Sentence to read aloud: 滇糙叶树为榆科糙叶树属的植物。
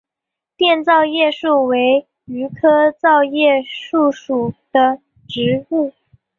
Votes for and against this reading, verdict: 2, 1, accepted